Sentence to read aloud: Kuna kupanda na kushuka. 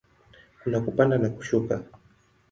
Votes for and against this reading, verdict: 4, 0, accepted